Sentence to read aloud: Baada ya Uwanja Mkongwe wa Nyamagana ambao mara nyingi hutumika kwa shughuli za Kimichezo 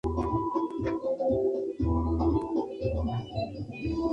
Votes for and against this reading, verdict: 0, 2, rejected